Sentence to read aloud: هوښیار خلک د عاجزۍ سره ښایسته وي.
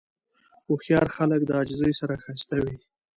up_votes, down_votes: 2, 0